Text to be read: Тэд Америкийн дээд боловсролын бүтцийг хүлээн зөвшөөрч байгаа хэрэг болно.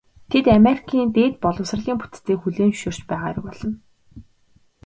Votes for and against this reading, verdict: 2, 0, accepted